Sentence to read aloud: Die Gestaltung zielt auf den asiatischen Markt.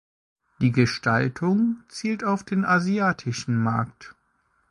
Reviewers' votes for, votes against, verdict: 2, 0, accepted